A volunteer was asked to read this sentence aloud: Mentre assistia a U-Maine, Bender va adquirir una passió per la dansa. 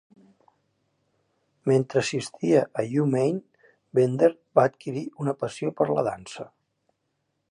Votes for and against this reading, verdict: 2, 0, accepted